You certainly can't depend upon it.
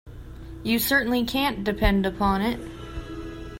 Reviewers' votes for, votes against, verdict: 2, 1, accepted